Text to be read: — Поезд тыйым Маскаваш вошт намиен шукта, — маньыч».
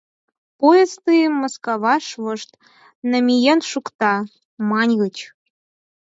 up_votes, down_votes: 4, 2